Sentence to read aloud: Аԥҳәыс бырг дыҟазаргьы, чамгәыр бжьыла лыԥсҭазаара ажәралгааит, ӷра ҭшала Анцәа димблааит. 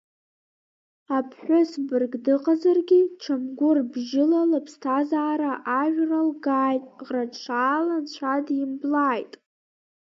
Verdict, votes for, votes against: accepted, 2, 0